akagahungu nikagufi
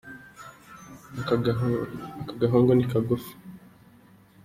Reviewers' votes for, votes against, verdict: 1, 2, rejected